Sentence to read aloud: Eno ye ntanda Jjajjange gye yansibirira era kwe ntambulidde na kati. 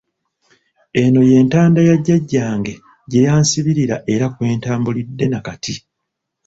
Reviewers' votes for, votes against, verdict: 0, 2, rejected